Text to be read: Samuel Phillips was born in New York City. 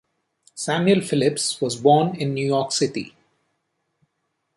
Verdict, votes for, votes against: accepted, 2, 0